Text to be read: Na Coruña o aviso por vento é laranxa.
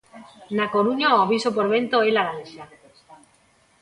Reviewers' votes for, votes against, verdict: 0, 2, rejected